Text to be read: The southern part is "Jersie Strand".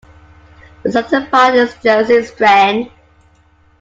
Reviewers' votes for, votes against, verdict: 0, 2, rejected